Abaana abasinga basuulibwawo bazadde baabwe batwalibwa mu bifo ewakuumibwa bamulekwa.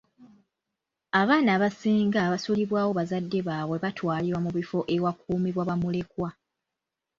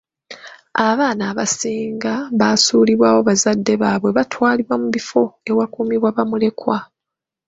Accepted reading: second